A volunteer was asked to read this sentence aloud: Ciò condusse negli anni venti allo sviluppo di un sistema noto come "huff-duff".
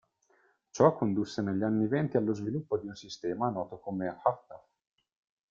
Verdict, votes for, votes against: accepted, 2, 0